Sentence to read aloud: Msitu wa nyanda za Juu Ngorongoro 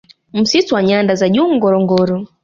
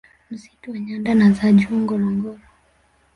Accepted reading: first